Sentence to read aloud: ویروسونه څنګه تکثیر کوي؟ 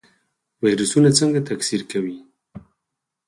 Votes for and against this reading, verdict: 4, 2, accepted